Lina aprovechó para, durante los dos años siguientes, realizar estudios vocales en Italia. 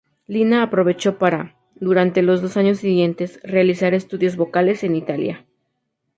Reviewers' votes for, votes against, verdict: 2, 0, accepted